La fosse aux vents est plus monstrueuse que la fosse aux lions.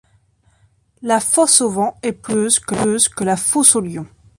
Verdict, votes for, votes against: rejected, 0, 2